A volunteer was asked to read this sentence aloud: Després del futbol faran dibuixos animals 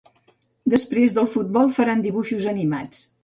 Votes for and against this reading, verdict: 1, 2, rejected